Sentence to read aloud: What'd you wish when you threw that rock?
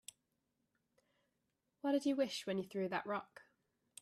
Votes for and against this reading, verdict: 2, 0, accepted